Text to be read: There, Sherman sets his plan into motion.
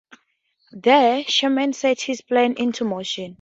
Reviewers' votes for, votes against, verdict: 2, 0, accepted